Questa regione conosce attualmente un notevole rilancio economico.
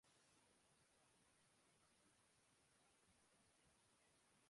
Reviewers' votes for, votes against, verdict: 0, 2, rejected